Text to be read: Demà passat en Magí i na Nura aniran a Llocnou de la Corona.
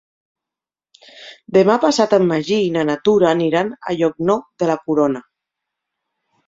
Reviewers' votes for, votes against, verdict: 1, 2, rejected